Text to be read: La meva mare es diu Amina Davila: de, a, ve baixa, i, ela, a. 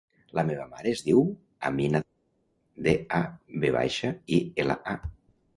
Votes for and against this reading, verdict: 0, 3, rejected